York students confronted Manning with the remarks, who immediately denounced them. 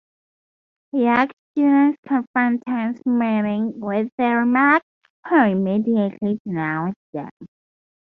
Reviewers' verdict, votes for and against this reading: rejected, 0, 4